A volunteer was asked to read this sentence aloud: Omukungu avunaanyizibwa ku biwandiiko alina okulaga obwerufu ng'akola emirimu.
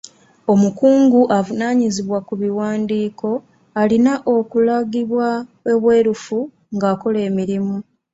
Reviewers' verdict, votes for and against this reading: rejected, 1, 2